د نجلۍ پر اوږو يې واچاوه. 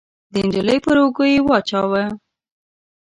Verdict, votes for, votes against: accepted, 2, 0